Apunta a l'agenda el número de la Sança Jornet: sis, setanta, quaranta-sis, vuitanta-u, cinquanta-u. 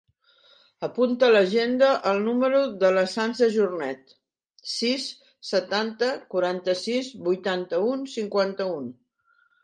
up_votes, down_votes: 1, 2